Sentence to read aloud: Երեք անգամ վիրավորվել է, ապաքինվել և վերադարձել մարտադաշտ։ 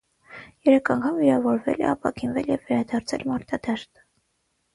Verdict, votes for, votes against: rejected, 3, 3